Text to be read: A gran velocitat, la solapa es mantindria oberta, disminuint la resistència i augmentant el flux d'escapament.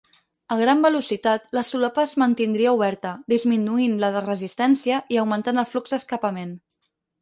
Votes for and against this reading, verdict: 2, 4, rejected